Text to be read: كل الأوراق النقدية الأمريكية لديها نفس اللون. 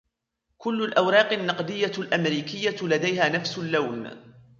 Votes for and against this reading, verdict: 2, 1, accepted